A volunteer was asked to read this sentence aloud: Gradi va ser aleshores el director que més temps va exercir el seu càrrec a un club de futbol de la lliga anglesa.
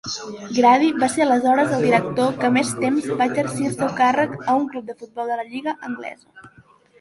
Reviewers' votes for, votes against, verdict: 1, 2, rejected